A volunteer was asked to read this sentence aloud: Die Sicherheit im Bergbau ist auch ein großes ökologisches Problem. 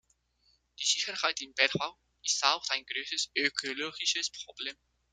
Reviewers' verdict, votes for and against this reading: rejected, 0, 2